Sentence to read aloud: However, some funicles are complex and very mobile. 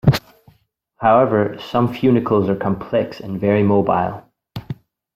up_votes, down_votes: 2, 0